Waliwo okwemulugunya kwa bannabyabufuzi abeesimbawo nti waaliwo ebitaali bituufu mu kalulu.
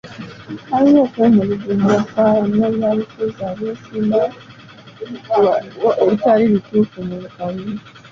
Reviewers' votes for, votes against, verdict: 0, 2, rejected